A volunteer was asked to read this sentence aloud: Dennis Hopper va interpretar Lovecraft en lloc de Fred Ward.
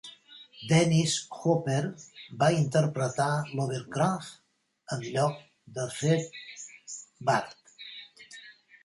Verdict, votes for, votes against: rejected, 2, 3